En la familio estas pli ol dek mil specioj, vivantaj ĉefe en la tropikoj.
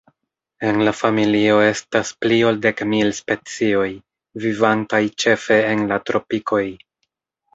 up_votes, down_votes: 1, 2